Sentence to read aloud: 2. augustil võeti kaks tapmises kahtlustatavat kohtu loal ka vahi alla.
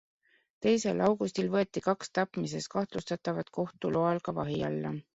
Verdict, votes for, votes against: rejected, 0, 2